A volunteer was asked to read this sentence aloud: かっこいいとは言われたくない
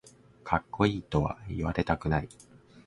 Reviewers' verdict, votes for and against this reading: accepted, 2, 0